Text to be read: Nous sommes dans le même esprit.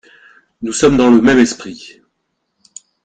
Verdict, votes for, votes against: accepted, 2, 0